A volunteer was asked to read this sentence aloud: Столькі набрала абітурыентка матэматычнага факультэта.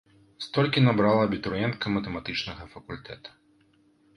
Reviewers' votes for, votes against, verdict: 2, 0, accepted